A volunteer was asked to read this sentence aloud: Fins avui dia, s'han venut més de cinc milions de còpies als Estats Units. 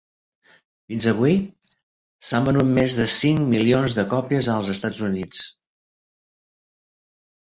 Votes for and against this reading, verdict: 0, 3, rejected